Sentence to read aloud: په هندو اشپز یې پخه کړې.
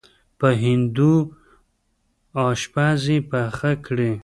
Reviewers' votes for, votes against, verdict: 0, 2, rejected